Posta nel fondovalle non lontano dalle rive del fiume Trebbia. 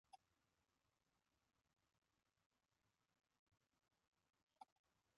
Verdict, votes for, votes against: rejected, 0, 2